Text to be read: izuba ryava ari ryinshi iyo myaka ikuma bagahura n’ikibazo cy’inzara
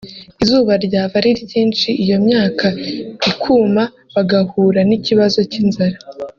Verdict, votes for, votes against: rejected, 1, 2